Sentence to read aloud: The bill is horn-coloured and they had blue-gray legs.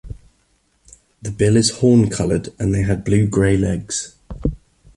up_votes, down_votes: 2, 0